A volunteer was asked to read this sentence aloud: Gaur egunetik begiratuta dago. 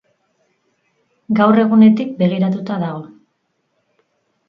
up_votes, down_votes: 2, 2